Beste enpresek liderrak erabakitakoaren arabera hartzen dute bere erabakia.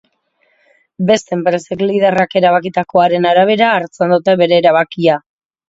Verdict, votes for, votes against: accepted, 2, 0